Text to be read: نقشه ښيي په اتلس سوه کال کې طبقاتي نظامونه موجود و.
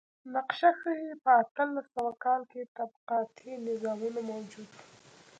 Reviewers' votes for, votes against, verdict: 3, 0, accepted